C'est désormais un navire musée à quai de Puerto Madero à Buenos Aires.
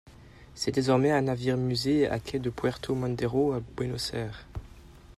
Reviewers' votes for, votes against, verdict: 2, 1, accepted